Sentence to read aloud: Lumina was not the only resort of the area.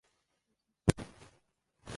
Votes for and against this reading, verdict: 0, 2, rejected